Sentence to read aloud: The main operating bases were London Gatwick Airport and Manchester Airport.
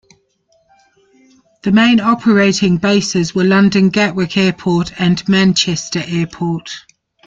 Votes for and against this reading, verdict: 2, 0, accepted